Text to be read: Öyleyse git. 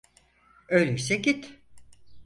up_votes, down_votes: 4, 0